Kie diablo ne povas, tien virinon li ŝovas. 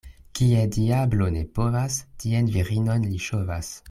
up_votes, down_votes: 2, 0